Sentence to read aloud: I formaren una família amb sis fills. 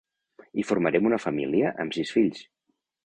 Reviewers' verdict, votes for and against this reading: rejected, 0, 2